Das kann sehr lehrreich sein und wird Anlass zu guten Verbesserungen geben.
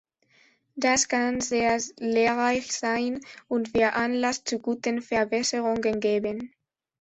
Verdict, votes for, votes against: rejected, 1, 2